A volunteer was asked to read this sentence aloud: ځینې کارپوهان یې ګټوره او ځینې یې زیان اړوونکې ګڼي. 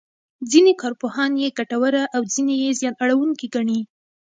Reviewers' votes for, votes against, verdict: 1, 2, rejected